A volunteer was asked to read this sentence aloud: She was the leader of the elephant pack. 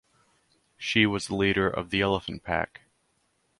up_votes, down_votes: 4, 0